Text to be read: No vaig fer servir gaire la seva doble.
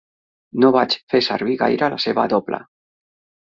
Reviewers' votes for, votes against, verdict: 3, 0, accepted